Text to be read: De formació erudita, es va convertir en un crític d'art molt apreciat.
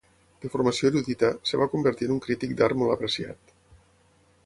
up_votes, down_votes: 0, 6